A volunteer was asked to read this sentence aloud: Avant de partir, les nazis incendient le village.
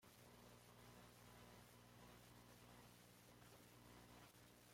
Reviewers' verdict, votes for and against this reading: rejected, 1, 2